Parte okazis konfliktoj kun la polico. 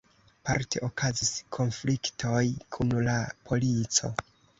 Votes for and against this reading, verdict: 2, 0, accepted